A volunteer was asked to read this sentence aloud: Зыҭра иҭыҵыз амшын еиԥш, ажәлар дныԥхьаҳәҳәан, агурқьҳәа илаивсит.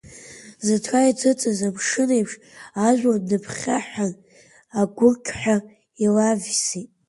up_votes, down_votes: 2, 0